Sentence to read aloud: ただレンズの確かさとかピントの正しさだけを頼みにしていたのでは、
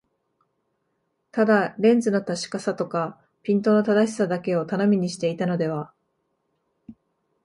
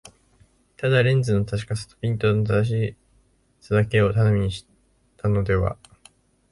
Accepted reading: first